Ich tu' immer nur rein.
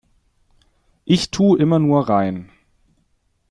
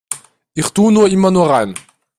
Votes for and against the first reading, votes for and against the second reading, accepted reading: 2, 0, 0, 2, first